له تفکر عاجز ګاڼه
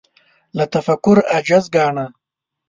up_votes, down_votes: 2, 0